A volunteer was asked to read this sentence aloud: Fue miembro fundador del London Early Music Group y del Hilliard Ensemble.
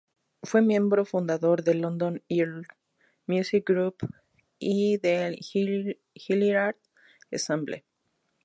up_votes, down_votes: 2, 2